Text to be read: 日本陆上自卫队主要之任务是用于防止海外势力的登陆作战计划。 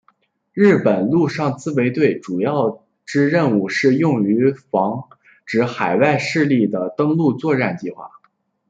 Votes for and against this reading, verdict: 0, 2, rejected